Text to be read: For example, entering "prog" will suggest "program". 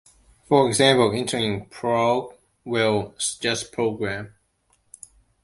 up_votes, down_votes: 2, 0